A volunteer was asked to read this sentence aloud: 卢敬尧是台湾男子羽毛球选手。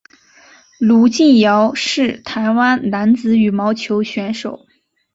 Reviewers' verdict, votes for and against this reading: accepted, 4, 0